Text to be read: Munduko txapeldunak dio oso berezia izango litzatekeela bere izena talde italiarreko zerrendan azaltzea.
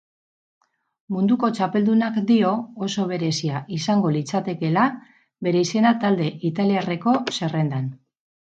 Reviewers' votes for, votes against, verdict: 0, 6, rejected